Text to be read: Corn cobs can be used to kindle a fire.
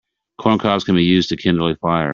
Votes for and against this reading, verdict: 2, 0, accepted